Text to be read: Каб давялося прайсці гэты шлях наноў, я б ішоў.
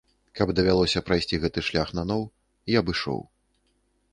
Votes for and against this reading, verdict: 2, 0, accepted